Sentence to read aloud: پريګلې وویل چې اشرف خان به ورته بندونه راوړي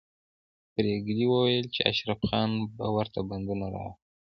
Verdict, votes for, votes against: accepted, 2, 0